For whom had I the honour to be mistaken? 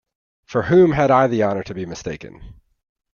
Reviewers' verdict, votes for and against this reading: accepted, 2, 0